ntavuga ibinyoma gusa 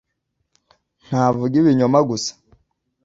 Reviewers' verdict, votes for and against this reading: accepted, 2, 0